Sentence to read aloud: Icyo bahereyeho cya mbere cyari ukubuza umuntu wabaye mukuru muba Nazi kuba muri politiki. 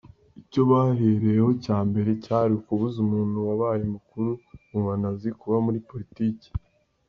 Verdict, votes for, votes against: accepted, 2, 0